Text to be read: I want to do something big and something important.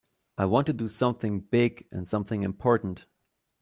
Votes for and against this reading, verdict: 2, 0, accepted